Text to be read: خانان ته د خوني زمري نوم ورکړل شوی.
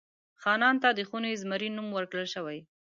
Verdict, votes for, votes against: accepted, 2, 0